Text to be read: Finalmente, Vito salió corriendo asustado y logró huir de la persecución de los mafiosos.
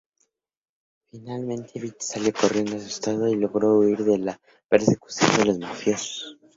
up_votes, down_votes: 0, 2